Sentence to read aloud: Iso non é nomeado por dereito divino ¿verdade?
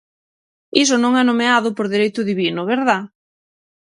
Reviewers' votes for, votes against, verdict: 0, 6, rejected